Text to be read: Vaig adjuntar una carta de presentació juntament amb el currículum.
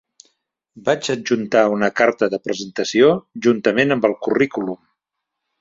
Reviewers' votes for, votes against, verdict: 3, 0, accepted